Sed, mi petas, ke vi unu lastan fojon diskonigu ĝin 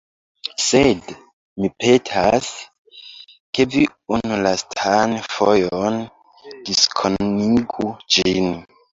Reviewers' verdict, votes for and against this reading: rejected, 0, 2